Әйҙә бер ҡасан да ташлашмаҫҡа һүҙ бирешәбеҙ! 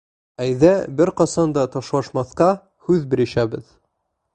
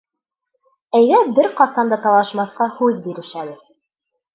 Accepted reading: first